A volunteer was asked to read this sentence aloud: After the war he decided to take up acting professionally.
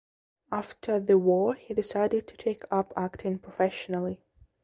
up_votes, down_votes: 2, 0